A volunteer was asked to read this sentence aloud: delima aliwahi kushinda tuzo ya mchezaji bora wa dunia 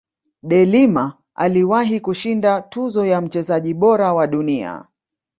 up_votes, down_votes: 2, 0